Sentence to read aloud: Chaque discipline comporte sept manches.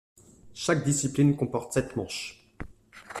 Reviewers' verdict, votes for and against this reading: accepted, 2, 0